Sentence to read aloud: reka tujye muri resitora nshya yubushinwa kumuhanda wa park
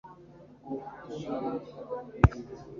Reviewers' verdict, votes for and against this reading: rejected, 1, 2